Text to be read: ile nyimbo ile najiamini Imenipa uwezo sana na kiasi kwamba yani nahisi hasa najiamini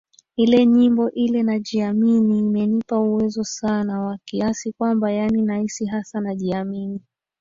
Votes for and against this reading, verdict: 1, 2, rejected